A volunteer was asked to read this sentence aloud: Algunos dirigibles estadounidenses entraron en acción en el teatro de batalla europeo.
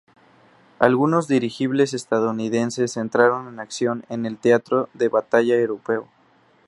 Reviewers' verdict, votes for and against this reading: accepted, 4, 0